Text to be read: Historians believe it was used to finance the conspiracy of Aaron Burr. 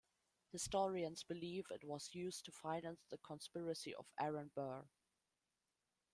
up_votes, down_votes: 2, 0